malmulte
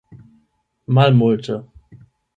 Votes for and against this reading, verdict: 0, 8, rejected